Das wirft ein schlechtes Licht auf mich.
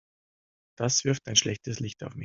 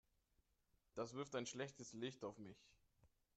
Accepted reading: second